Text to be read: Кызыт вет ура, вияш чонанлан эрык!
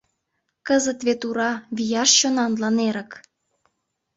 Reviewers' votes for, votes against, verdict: 2, 0, accepted